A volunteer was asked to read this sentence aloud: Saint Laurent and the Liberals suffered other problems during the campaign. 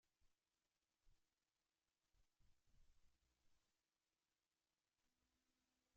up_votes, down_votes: 0, 2